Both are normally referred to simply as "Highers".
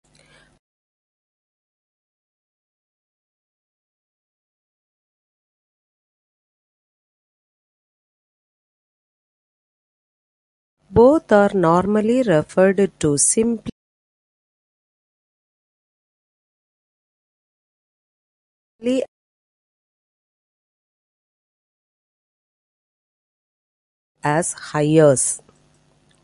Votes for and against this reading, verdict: 0, 2, rejected